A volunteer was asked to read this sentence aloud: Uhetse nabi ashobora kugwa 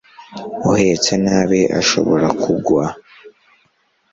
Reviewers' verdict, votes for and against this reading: accepted, 2, 0